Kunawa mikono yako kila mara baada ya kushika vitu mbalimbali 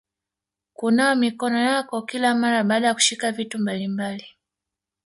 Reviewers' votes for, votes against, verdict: 0, 2, rejected